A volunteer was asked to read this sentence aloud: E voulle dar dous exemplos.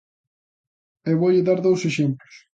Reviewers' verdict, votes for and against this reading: accepted, 2, 0